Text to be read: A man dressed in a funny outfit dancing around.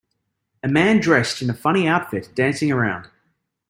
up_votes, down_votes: 2, 0